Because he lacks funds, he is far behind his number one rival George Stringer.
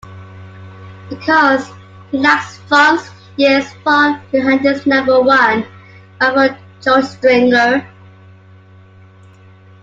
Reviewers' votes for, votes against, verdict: 1, 2, rejected